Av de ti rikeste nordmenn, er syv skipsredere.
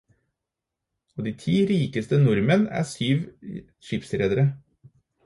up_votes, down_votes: 4, 0